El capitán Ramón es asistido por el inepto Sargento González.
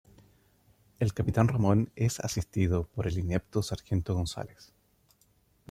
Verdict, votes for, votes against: accepted, 2, 0